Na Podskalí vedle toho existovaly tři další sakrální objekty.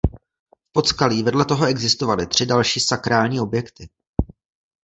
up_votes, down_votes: 1, 2